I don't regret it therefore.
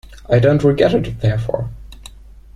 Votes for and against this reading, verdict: 1, 2, rejected